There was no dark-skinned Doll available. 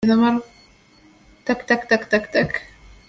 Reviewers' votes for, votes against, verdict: 0, 2, rejected